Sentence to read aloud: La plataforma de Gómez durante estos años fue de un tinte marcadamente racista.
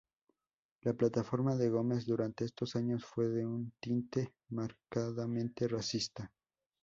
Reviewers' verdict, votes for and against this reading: accepted, 2, 0